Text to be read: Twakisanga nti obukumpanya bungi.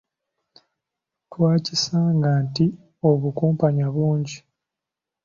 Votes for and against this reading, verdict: 2, 0, accepted